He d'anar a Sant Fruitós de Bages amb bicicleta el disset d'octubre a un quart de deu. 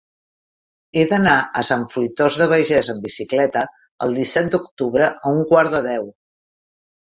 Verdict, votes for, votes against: rejected, 0, 2